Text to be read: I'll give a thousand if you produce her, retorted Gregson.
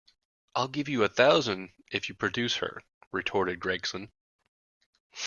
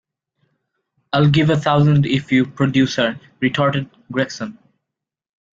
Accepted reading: second